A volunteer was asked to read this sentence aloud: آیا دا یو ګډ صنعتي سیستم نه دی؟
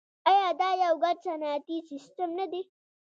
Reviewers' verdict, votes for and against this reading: accepted, 2, 0